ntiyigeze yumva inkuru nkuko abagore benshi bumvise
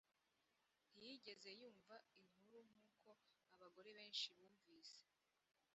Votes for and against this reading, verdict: 1, 2, rejected